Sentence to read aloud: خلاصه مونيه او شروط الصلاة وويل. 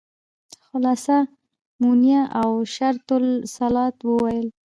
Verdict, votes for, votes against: accepted, 2, 0